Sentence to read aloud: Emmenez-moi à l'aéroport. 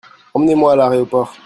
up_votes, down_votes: 0, 2